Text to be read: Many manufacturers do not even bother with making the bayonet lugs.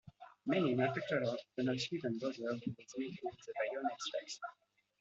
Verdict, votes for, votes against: rejected, 0, 2